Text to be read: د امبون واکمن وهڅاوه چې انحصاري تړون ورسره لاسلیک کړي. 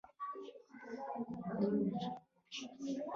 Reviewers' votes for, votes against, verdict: 0, 2, rejected